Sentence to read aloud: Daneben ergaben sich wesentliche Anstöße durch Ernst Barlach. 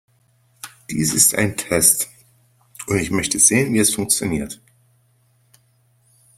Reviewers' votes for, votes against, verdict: 0, 2, rejected